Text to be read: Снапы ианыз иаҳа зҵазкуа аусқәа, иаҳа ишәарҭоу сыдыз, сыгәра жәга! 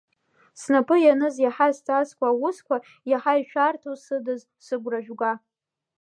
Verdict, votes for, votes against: accepted, 2, 0